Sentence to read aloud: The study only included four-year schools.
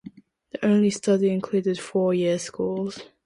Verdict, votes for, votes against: rejected, 0, 2